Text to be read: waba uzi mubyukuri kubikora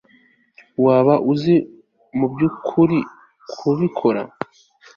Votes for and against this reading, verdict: 3, 0, accepted